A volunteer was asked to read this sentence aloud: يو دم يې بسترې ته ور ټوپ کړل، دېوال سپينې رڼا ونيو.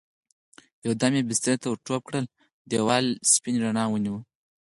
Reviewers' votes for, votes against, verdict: 0, 4, rejected